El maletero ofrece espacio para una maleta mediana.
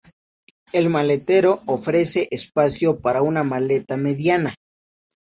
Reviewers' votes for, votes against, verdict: 2, 0, accepted